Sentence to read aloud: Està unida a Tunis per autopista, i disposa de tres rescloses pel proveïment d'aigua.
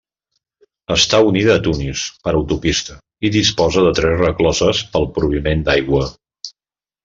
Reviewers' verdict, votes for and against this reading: accepted, 2, 1